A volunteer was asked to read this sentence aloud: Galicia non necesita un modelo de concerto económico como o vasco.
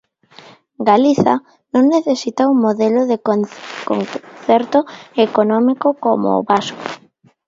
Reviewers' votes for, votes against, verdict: 0, 2, rejected